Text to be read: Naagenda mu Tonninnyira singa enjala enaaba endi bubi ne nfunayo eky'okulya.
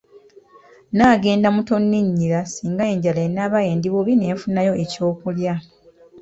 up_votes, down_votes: 2, 0